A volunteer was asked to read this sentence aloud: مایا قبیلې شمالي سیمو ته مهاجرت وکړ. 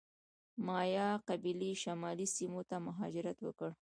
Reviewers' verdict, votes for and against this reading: rejected, 1, 2